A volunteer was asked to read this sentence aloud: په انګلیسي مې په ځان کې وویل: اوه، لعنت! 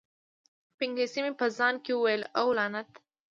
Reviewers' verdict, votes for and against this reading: rejected, 1, 2